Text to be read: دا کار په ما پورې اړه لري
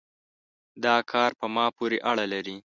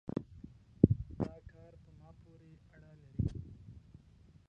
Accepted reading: first